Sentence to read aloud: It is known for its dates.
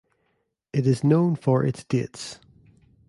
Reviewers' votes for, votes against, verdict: 0, 2, rejected